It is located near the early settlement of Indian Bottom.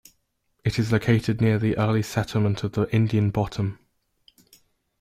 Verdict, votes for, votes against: rejected, 1, 2